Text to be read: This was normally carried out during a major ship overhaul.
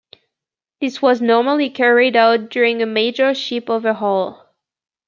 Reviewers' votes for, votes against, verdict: 2, 0, accepted